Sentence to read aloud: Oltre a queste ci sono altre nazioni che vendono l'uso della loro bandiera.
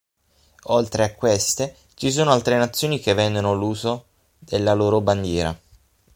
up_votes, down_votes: 3, 6